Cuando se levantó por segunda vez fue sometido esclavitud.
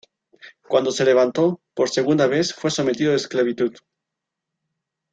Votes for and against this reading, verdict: 2, 0, accepted